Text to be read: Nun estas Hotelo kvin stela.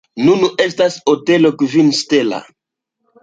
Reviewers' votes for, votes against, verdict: 2, 0, accepted